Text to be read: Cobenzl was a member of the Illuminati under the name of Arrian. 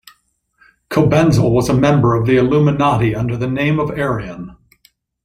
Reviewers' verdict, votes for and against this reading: accepted, 2, 0